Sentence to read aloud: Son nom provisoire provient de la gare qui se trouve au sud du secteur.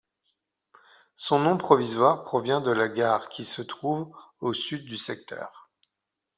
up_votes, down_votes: 2, 0